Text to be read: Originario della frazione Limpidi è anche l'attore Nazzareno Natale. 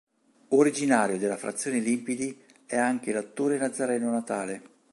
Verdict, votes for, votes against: accepted, 2, 0